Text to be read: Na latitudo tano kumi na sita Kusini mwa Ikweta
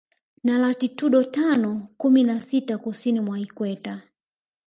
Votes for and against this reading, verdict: 1, 2, rejected